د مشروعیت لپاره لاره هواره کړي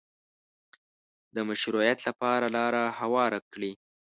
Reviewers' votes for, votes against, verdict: 2, 0, accepted